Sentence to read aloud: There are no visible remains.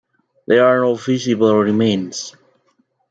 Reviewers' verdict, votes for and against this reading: rejected, 0, 2